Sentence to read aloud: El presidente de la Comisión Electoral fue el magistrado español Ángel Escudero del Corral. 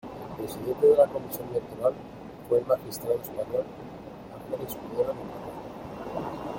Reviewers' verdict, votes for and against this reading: rejected, 0, 2